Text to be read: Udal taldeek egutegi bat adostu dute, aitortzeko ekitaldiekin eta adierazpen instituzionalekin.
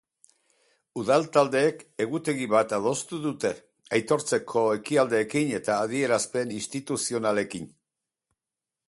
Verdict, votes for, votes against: accepted, 2, 0